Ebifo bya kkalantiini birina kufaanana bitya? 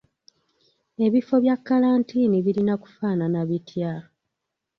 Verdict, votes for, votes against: accepted, 4, 0